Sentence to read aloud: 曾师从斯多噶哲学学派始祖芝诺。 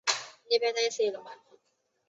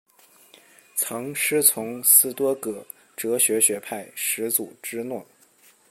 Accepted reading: second